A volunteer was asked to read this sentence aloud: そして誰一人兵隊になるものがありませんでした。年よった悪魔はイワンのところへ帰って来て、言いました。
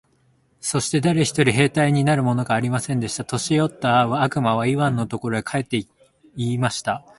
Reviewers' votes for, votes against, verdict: 0, 2, rejected